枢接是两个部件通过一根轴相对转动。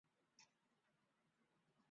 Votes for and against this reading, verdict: 1, 2, rejected